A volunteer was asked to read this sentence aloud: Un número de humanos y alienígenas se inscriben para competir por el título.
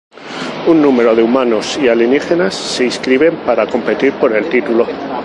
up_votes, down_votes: 0, 2